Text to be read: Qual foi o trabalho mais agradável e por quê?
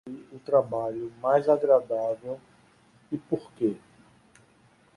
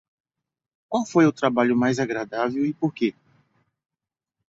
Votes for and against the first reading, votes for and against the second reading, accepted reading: 0, 2, 2, 0, second